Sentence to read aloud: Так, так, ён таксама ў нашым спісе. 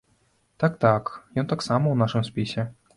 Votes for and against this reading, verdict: 2, 0, accepted